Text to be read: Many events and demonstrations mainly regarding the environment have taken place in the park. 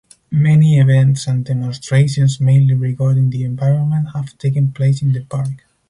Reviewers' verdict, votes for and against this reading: accepted, 4, 0